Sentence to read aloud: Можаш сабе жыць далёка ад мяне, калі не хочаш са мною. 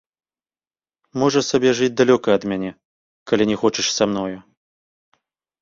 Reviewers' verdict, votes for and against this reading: accepted, 2, 0